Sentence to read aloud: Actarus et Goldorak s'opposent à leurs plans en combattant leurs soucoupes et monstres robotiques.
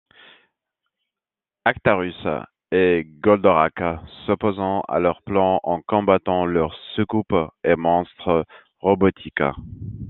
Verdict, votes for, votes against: rejected, 0, 2